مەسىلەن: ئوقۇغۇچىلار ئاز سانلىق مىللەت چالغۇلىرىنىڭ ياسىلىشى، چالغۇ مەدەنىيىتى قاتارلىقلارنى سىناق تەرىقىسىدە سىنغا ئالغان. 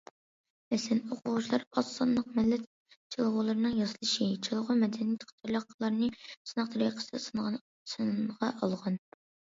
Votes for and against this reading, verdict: 0, 2, rejected